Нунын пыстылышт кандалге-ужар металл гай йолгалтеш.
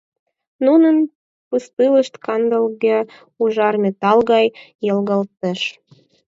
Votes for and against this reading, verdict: 2, 4, rejected